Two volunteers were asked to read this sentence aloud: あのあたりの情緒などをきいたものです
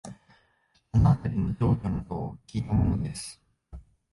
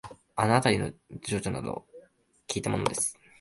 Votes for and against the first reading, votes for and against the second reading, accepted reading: 1, 2, 2, 0, second